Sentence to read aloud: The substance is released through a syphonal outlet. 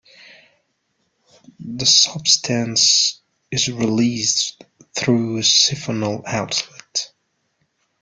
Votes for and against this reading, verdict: 2, 0, accepted